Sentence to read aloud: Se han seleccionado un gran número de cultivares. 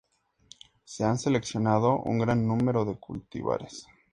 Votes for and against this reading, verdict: 2, 0, accepted